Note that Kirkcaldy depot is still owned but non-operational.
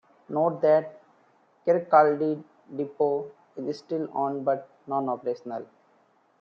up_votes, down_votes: 2, 0